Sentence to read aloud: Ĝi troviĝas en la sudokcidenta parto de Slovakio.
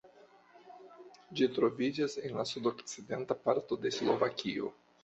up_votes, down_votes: 1, 2